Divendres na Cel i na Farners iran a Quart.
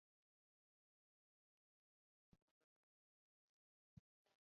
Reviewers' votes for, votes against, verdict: 1, 2, rejected